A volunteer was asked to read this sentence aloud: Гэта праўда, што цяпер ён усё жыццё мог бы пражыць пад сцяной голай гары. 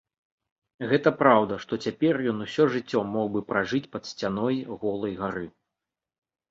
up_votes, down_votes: 2, 0